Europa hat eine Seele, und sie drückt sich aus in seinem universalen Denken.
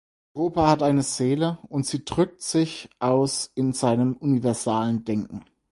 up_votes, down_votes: 0, 4